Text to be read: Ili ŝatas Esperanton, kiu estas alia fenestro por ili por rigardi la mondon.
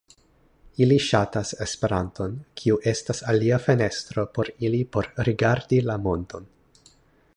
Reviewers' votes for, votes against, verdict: 2, 0, accepted